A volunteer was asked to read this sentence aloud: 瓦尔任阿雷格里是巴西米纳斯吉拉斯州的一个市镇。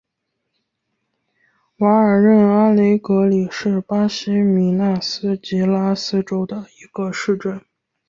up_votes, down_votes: 2, 0